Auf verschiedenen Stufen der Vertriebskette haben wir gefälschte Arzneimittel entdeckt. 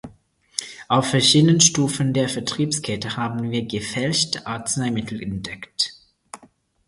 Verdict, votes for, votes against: accepted, 4, 0